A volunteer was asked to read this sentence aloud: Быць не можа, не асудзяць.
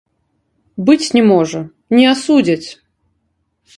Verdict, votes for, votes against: rejected, 1, 3